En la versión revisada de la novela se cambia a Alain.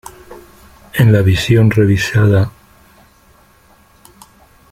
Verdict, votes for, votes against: rejected, 0, 2